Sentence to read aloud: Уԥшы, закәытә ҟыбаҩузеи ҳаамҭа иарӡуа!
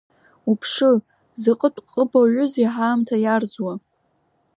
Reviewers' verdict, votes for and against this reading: accepted, 2, 0